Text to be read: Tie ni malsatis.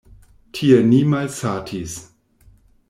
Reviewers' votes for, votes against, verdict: 2, 0, accepted